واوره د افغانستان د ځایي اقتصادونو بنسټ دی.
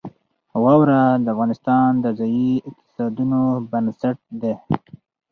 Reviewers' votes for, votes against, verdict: 2, 2, rejected